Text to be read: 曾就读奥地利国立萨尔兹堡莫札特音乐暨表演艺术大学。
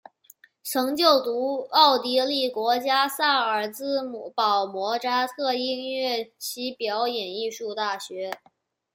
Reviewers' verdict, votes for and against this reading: rejected, 0, 2